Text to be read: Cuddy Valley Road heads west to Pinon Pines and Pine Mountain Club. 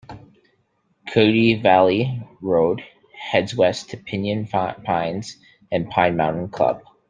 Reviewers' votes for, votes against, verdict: 2, 1, accepted